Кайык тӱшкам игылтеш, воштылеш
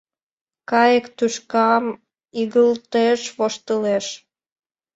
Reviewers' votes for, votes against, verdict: 1, 2, rejected